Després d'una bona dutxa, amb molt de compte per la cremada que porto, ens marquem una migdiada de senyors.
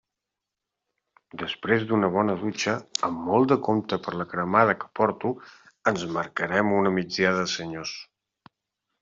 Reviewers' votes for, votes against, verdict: 1, 2, rejected